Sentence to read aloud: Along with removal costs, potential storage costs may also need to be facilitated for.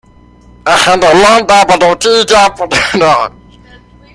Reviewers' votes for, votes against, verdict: 0, 2, rejected